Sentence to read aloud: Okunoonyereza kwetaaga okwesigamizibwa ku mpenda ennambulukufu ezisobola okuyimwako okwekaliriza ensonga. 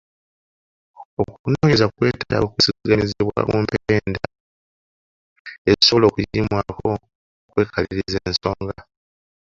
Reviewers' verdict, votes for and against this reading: rejected, 0, 3